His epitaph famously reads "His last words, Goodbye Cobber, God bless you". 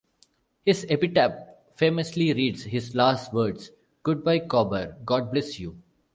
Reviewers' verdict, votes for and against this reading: accepted, 2, 0